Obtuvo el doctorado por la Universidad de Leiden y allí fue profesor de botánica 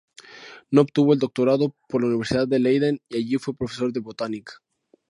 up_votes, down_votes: 0, 2